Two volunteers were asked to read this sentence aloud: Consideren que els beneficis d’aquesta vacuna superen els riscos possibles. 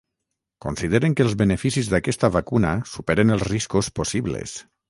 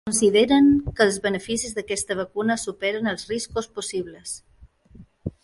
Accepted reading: second